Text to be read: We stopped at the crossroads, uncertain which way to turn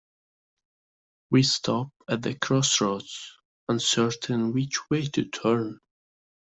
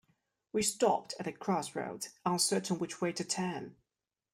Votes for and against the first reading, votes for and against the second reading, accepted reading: 0, 2, 2, 1, second